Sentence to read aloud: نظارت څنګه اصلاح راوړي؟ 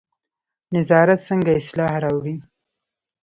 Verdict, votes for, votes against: accepted, 2, 0